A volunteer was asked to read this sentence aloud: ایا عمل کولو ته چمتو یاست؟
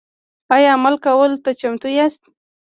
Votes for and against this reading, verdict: 2, 1, accepted